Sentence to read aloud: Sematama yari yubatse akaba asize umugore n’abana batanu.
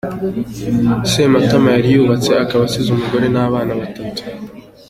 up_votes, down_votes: 2, 0